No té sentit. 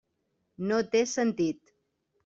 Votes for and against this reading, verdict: 3, 0, accepted